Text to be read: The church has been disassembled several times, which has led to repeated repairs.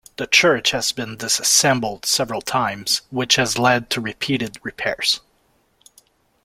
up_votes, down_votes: 2, 0